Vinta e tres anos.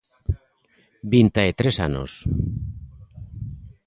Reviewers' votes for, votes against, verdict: 2, 0, accepted